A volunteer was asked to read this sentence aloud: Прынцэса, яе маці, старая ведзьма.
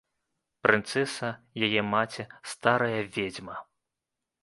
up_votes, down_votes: 1, 2